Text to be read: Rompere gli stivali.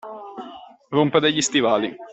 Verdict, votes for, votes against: accepted, 2, 0